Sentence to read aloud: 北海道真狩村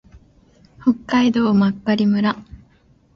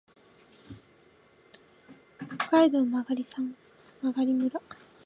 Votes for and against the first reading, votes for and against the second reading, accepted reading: 2, 1, 0, 2, first